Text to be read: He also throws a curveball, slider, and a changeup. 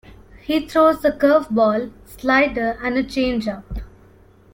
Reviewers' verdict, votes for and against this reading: rejected, 0, 2